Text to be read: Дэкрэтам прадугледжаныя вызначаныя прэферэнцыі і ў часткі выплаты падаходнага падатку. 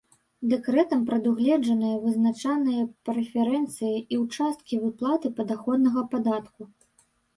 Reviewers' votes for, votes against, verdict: 1, 2, rejected